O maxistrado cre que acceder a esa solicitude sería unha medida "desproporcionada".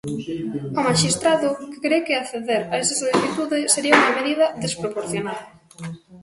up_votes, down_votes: 1, 2